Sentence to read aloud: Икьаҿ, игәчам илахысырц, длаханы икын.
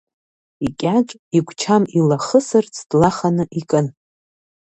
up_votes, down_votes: 2, 0